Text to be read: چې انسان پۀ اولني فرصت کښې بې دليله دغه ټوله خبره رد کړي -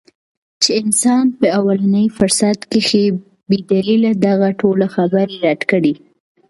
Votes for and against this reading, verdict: 2, 1, accepted